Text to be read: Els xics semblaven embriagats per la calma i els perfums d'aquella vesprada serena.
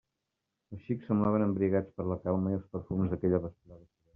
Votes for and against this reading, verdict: 0, 2, rejected